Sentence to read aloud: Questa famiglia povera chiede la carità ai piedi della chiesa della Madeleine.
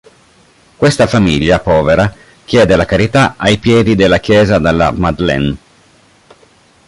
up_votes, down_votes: 0, 2